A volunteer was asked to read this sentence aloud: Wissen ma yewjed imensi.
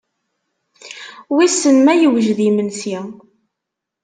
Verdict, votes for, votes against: accepted, 2, 0